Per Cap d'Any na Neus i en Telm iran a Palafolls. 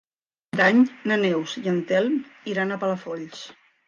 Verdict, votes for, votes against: rejected, 0, 2